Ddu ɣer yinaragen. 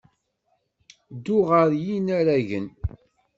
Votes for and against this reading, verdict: 2, 0, accepted